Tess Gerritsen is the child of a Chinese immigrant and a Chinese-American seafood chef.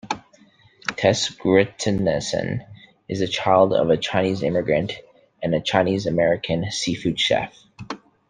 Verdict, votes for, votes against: rejected, 0, 2